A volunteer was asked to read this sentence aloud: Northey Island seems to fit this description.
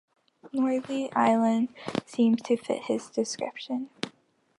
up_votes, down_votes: 1, 2